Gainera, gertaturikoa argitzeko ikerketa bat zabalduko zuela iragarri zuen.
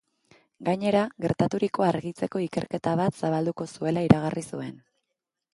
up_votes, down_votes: 2, 0